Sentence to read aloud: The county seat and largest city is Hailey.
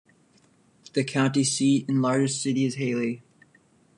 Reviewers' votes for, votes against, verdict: 2, 0, accepted